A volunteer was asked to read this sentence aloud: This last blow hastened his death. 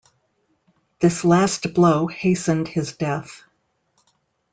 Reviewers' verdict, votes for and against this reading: accepted, 2, 0